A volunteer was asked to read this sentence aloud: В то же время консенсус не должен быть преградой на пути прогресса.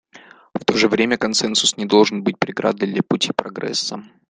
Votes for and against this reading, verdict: 1, 2, rejected